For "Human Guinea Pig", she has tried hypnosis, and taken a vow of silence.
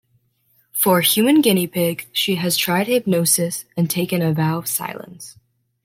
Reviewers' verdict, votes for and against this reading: accepted, 2, 0